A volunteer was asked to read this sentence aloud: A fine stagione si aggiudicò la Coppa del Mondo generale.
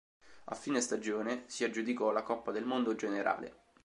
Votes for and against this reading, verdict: 2, 0, accepted